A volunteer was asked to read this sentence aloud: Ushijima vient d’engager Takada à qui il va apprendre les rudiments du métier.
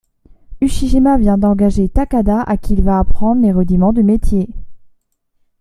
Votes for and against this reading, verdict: 2, 0, accepted